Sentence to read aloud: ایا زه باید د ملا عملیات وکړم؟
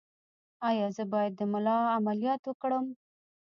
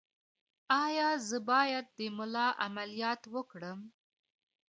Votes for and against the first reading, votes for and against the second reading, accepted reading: 1, 2, 2, 0, second